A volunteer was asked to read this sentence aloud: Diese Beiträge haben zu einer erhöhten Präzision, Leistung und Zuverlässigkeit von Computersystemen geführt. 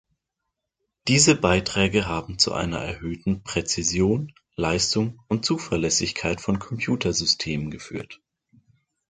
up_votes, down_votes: 2, 0